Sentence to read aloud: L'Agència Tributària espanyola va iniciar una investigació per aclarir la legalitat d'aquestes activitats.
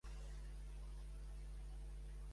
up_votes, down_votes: 0, 2